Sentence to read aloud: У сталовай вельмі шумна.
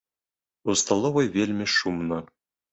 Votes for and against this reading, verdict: 2, 0, accepted